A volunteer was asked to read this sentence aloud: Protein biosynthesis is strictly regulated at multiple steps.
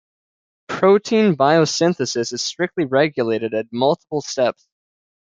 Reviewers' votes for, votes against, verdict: 2, 0, accepted